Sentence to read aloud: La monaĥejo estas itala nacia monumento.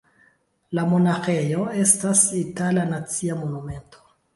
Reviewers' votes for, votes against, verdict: 2, 0, accepted